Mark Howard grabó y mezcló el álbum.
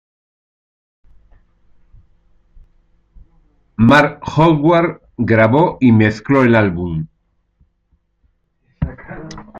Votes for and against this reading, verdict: 0, 2, rejected